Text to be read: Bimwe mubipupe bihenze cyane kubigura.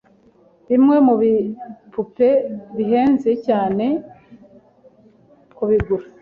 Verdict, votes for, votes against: accepted, 3, 0